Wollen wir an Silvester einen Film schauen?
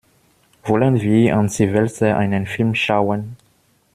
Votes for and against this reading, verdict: 2, 0, accepted